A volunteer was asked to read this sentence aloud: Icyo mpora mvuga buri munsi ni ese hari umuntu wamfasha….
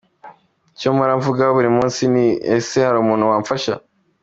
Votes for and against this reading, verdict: 2, 0, accepted